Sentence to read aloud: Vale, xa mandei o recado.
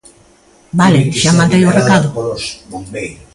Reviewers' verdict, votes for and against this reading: rejected, 0, 2